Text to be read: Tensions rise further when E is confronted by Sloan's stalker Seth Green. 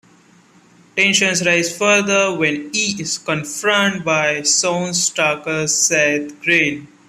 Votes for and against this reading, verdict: 0, 2, rejected